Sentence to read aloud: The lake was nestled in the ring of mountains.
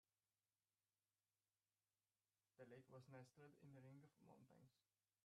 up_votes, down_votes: 0, 2